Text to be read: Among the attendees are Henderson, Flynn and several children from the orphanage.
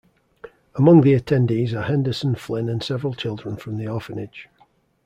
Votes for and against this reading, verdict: 2, 0, accepted